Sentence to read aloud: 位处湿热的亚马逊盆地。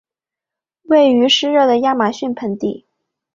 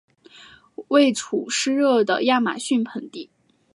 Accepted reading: second